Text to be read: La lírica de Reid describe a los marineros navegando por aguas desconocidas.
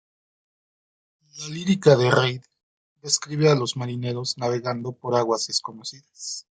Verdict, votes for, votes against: accepted, 2, 0